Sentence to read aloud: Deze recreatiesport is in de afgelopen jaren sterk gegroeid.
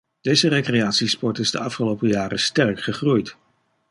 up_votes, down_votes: 0, 2